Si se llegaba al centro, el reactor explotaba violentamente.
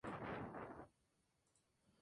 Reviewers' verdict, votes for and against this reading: rejected, 0, 2